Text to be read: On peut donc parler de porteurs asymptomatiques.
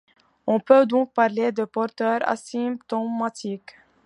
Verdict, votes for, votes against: accepted, 2, 1